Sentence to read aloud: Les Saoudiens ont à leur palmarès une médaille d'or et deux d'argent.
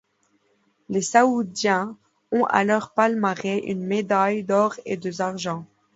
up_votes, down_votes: 0, 2